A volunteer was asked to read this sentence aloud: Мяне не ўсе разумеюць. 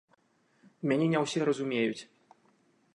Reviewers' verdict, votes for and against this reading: accepted, 2, 0